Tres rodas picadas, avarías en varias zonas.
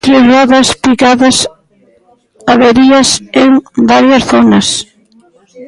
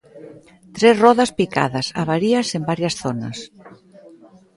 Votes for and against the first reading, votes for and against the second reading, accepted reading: 0, 2, 2, 0, second